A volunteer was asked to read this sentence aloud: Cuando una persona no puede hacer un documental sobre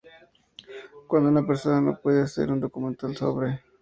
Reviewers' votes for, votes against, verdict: 2, 2, rejected